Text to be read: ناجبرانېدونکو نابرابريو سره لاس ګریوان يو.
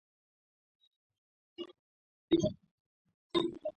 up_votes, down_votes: 0, 2